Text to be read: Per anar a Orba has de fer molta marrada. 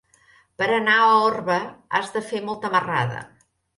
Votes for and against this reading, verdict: 2, 0, accepted